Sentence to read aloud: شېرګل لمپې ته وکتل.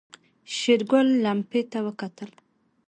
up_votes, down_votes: 1, 2